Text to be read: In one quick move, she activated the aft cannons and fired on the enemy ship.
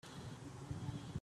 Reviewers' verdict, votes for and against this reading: rejected, 0, 2